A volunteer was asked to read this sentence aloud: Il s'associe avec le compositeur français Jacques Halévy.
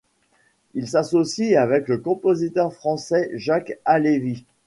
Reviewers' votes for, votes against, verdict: 2, 0, accepted